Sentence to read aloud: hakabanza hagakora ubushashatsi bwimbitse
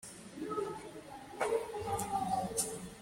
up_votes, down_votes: 0, 2